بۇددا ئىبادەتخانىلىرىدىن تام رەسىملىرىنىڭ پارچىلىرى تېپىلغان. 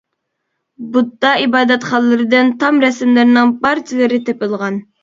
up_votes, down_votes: 0, 2